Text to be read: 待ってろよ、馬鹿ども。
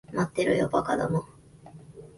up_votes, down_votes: 1, 2